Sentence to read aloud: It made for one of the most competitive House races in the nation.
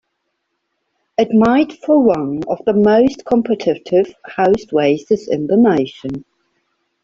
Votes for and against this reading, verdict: 2, 1, accepted